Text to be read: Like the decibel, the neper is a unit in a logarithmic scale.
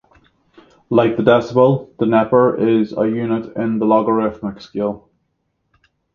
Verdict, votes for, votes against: rejected, 3, 3